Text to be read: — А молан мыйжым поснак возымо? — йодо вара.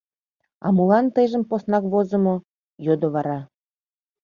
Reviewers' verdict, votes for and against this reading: rejected, 0, 2